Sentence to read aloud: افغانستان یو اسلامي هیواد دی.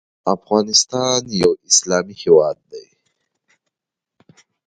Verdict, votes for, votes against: rejected, 0, 2